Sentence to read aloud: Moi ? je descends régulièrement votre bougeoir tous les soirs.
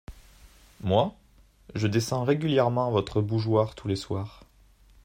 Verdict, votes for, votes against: accepted, 2, 0